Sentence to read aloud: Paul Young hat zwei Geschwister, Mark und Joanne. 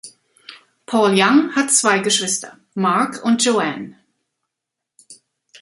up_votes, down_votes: 2, 0